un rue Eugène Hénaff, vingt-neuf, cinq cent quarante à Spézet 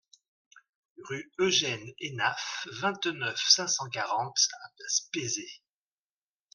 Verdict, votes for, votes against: rejected, 0, 2